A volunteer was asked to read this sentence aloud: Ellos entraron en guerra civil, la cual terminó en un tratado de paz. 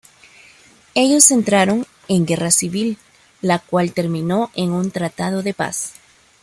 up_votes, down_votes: 2, 0